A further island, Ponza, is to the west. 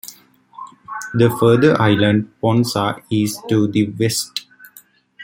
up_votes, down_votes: 1, 2